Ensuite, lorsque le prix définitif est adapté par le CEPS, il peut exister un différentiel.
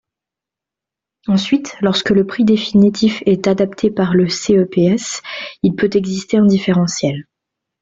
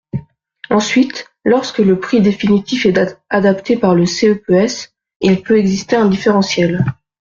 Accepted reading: first